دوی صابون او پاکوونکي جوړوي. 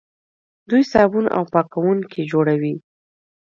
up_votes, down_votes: 2, 0